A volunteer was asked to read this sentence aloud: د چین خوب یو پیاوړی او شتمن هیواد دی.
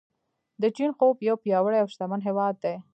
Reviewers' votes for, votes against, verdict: 0, 2, rejected